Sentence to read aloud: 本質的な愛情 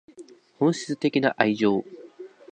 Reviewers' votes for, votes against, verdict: 8, 0, accepted